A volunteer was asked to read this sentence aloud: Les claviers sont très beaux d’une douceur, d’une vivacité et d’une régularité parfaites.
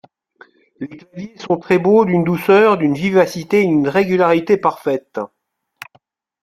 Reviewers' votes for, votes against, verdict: 0, 2, rejected